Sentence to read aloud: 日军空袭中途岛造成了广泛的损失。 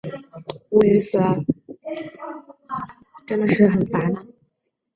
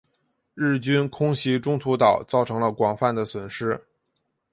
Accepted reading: second